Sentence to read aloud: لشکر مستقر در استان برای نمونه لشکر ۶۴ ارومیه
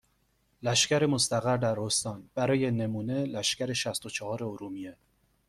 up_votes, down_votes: 0, 2